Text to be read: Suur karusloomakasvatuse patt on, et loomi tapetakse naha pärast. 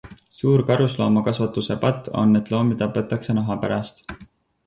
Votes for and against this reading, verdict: 4, 0, accepted